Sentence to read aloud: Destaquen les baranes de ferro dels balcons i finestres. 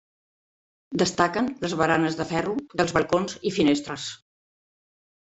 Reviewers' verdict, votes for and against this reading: accepted, 3, 0